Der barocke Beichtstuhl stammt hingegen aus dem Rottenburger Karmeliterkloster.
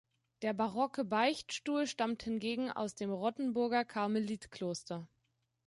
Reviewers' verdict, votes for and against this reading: rejected, 0, 2